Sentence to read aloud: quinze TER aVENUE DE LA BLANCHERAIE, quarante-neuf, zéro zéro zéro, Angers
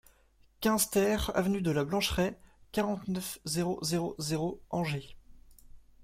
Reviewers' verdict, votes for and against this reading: accepted, 2, 0